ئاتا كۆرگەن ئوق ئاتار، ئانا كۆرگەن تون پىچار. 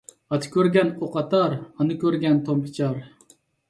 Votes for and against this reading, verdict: 2, 0, accepted